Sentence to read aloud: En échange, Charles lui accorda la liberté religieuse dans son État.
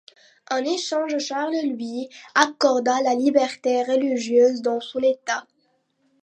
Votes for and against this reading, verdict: 2, 0, accepted